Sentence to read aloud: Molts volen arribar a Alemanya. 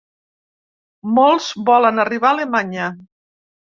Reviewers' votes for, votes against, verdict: 3, 0, accepted